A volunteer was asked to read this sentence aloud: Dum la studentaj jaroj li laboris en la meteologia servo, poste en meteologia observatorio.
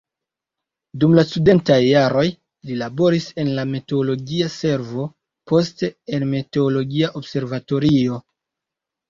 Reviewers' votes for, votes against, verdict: 2, 0, accepted